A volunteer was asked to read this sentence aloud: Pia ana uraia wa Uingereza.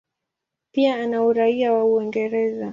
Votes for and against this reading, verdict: 3, 3, rejected